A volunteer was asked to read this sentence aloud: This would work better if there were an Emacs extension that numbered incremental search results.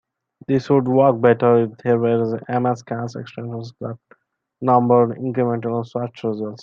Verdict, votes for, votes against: rejected, 0, 3